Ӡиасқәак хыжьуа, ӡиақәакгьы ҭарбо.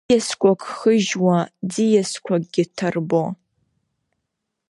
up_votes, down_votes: 2, 1